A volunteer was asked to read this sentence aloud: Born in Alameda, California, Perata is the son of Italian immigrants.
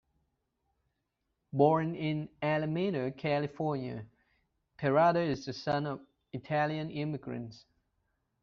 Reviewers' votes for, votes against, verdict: 1, 2, rejected